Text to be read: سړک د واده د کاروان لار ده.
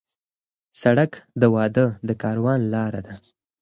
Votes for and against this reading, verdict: 2, 4, rejected